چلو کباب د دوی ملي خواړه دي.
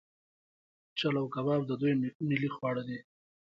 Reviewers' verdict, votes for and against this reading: accepted, 2, 1